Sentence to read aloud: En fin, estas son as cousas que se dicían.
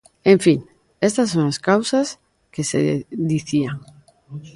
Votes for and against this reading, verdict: 0, 2, rejected